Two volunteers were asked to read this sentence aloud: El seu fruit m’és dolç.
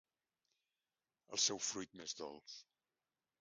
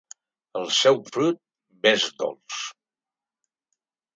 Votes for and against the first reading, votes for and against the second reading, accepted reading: 3, 1, 0, 2, first